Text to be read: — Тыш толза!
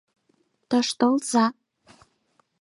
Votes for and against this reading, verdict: 4, 0, accepted